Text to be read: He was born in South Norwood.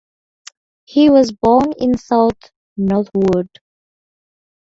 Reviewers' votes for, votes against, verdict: 2, 2, rejected